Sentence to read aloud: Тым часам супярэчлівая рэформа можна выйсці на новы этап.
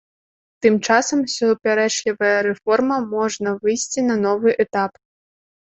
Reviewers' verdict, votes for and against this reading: rejected, 1, 2